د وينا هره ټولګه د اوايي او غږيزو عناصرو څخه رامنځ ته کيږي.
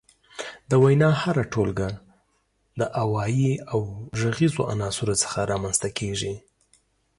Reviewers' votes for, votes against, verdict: 3, 0, accepted